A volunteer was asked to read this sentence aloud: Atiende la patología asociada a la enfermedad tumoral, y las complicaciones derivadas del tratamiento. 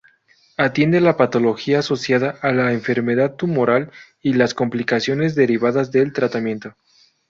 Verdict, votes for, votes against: accepted, 2, 0